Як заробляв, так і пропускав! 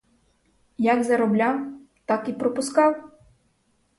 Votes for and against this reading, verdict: 4, 0, accepted